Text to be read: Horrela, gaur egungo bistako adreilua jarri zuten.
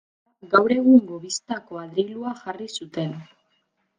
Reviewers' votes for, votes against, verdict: 1, 2, rejected